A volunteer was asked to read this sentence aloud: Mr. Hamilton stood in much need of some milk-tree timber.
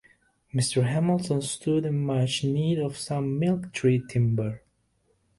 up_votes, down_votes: 0, 2